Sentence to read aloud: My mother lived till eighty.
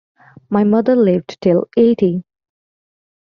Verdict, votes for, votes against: accepted, 2, 0